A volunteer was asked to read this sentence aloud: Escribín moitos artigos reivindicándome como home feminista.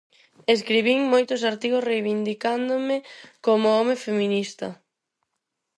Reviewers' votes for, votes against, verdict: 4, 0, accepted